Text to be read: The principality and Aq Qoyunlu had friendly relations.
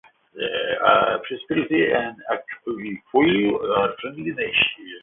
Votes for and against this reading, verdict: 0, 2, rejected